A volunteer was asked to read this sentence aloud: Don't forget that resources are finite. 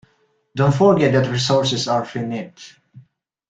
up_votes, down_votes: 2, 1